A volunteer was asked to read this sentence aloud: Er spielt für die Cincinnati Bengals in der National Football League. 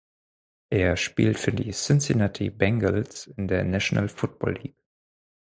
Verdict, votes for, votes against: rejected, 2, 4